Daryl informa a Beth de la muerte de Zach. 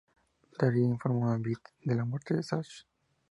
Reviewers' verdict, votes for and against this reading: accepted, 2, 0